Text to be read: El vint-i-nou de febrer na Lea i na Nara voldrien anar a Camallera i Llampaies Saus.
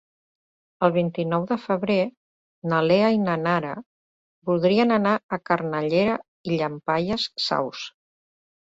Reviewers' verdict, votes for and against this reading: rejected, 1, 2